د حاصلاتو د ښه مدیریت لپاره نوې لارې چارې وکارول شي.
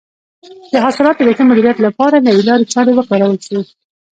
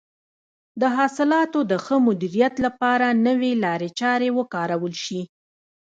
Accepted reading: first